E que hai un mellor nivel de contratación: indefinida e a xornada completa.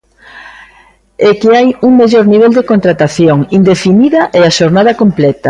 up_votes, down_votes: 1, 2